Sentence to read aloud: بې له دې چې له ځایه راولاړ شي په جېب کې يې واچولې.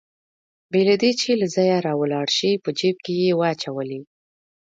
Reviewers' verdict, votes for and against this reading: rejected, 1, 2